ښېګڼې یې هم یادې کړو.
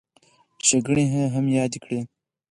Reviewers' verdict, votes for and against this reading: rejected, 0, 4